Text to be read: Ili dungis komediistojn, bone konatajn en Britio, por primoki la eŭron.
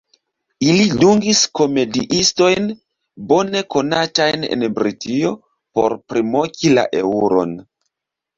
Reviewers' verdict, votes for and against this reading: rejected, 1, 2